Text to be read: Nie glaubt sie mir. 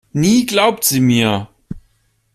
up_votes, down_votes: 2, 0